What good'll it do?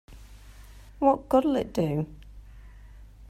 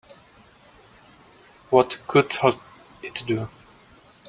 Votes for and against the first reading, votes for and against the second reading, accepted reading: 2, 0, 1, 2, first